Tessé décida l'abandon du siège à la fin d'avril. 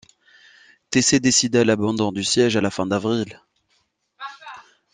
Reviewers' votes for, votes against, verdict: 0, 2, rejected